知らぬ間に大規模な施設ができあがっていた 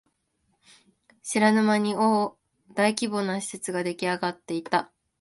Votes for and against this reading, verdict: 1, 2, rejected